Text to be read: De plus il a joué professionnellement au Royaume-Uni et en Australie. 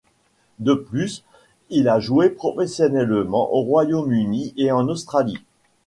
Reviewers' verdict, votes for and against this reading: accepted, 2, 0